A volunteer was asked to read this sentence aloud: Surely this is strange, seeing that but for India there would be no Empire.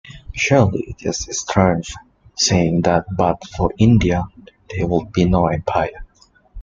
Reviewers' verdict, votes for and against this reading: accepted, 2, 1